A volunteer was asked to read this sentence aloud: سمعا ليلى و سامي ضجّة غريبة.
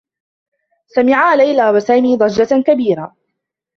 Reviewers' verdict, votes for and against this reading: rejected, 1, 2